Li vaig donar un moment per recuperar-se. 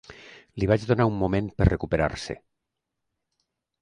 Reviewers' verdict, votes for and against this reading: accepted, 2, 0